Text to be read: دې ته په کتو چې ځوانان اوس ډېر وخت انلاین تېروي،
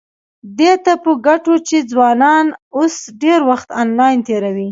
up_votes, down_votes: 2, 0